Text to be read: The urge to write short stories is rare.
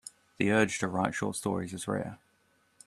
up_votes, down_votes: 2, 0